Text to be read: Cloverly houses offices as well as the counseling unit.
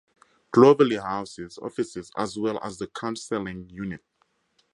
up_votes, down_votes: 2, 0